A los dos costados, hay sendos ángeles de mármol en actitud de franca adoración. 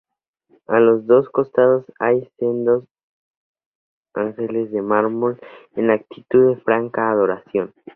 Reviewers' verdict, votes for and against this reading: accepted, 2, 0